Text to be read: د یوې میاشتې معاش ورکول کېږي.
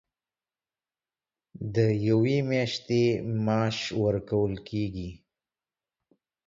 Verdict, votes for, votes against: accepted, 2, 0